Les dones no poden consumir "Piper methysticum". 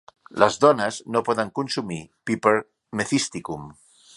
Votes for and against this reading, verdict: 2, 0, accepted